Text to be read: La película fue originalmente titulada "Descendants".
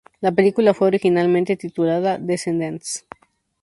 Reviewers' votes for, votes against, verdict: 2, 0, accepted